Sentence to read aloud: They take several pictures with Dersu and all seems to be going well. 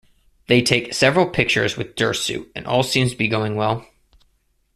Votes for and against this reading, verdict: 2, 0, accepted